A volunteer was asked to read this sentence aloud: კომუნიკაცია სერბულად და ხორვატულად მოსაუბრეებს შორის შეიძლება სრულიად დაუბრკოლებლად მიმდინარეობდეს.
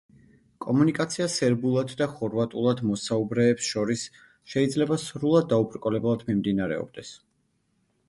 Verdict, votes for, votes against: rejected, 1, 2